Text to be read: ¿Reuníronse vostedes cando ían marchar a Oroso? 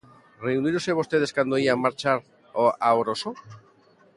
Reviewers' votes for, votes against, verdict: 1, 2, rejected